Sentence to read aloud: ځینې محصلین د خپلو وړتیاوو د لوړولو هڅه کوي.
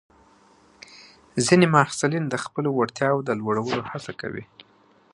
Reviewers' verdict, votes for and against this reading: accepted, 2, 0